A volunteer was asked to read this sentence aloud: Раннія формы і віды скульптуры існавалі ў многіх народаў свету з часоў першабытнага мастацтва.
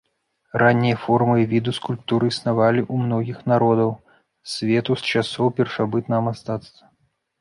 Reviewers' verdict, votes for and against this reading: rejected, 0, 2